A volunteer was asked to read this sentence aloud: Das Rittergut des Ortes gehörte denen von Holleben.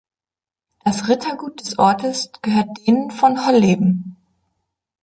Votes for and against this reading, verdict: 1, 2, rejected